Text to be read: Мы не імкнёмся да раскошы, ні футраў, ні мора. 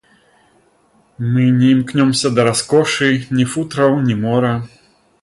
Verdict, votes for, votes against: accepted, 3, 0